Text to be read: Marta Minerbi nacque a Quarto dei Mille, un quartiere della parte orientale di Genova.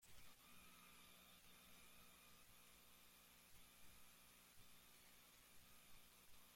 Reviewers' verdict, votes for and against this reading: rejected, 0, 2